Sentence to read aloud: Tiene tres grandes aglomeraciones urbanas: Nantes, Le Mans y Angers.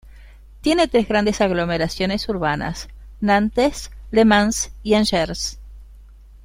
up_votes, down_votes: 3, 0